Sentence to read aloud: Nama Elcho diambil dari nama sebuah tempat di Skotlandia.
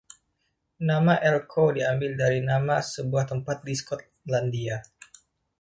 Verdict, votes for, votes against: accepted, 2, 1